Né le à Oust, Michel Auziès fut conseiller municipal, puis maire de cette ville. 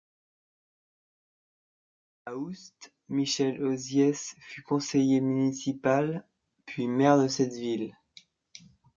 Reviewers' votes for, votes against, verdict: 0, 2, rejected